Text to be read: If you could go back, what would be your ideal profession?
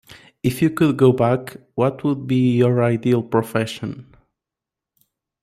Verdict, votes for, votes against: accepted, 2, 0